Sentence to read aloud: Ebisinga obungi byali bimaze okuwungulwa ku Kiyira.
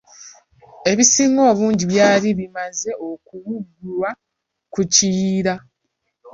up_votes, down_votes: 1, 2